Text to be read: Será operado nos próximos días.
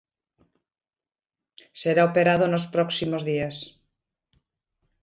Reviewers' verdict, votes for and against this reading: accepted, 2, 1